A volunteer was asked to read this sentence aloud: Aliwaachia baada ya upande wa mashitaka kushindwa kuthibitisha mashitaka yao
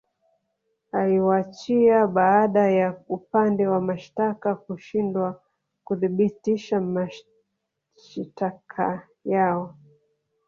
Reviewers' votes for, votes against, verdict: 1, 2, rejected